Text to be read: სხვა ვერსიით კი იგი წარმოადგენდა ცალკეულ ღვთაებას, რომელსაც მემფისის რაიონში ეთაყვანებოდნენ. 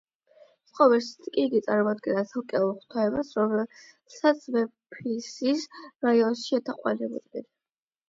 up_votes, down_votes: 4, 8